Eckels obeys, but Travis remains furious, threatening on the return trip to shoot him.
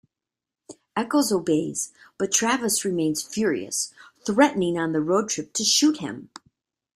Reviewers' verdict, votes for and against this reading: rejected, 1, 2